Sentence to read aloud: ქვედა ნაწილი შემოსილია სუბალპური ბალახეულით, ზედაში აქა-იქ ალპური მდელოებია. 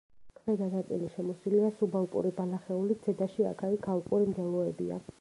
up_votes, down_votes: 1, 2